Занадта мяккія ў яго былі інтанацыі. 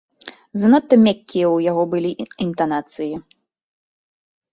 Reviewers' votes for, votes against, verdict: 2, 1, accepted